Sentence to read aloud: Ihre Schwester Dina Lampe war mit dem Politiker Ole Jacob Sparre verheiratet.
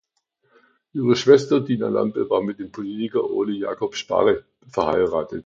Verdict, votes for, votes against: accepted, 2, 0